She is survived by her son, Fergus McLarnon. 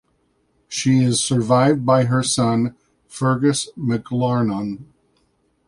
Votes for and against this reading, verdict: 2, 0, accepted